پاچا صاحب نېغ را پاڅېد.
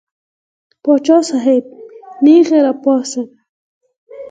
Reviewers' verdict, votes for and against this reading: accepted, 4, 2